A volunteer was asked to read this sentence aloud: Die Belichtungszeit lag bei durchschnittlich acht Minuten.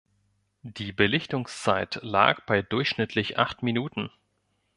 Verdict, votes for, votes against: accepted, 2, 0